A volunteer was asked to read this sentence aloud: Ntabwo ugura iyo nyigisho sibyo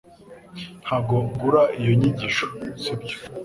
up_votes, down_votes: 2, 0